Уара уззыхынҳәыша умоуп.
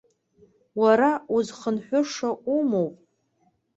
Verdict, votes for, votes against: rejected, 1, 2